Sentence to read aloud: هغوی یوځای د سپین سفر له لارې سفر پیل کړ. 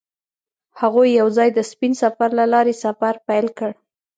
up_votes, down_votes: 1, 2